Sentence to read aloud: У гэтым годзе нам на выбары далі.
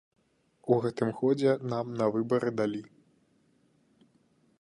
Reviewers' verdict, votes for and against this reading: accepted, 2, 0